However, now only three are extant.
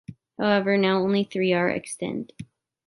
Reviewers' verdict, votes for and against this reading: accepted, 2, 1